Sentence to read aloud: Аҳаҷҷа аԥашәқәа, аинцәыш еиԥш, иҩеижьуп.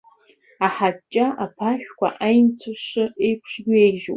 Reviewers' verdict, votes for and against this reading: accepted, 2, 0